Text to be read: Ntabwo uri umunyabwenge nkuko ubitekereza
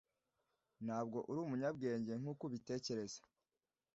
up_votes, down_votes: 2, 0